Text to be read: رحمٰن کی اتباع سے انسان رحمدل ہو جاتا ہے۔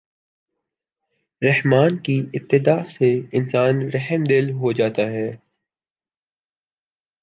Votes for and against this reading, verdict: 2, 1, accepted